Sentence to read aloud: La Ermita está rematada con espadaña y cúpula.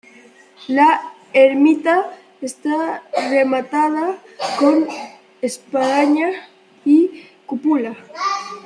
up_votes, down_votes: 1, 2